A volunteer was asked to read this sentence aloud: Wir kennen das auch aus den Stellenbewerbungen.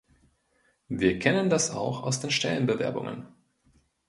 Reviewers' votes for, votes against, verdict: 2, 0, accepted